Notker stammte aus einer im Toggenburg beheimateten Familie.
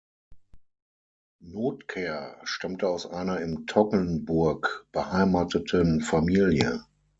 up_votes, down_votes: 6, 0